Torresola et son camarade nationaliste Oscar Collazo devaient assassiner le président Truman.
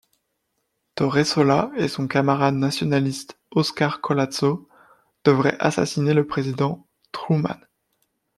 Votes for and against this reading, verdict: 1, 2, rejected